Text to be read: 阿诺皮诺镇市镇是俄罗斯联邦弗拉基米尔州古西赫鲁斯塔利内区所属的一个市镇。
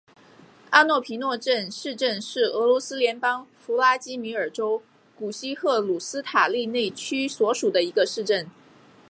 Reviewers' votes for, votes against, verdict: 3, 0, accepted